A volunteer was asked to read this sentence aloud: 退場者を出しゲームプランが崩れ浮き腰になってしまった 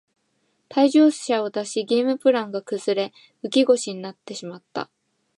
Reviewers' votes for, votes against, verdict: 2, 1, accepted